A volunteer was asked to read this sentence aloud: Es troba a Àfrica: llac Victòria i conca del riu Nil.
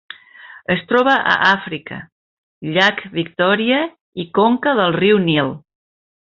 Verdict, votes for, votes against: accepted, 3, 0